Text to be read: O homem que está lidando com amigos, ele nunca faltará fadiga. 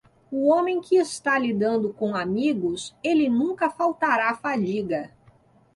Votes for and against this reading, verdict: 2, 0, accepted